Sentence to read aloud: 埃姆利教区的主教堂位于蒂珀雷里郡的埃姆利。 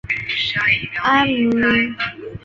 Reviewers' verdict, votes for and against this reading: rejected, 0, 2